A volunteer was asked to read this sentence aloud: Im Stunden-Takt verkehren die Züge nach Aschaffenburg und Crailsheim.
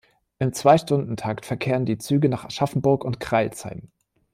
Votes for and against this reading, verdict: 0, 2, rejected